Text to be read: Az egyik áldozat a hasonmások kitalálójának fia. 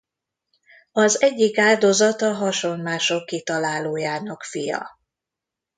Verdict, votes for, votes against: accepted, 2, 1